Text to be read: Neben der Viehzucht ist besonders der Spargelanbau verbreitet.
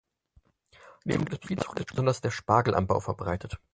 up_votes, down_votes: 0, 6